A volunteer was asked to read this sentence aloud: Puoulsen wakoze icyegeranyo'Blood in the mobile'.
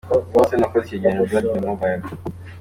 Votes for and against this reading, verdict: 2, 0, accepted